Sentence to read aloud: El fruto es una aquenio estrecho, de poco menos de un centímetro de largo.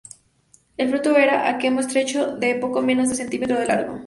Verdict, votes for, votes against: rejected, 0, 2